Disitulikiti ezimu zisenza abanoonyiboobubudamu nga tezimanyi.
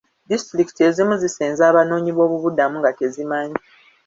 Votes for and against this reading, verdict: 2, 0, accepted